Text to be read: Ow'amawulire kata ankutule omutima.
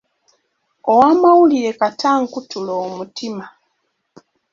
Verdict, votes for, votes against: accepted, 2, 0